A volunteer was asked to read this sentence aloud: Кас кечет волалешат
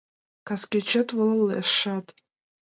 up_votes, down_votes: 1, 2